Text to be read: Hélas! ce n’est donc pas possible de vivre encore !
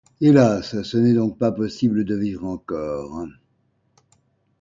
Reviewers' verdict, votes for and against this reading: accepted, 2, 0